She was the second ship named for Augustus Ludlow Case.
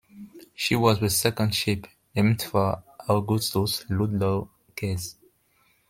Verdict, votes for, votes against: accepted, 2, 1